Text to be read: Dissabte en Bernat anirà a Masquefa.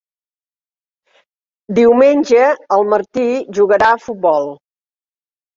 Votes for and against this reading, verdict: 0, 2, rejected